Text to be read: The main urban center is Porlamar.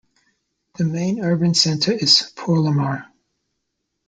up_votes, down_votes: 2, 0